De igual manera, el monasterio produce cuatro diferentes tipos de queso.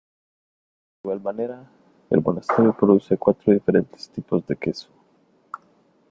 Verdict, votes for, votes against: rejected, 1, 2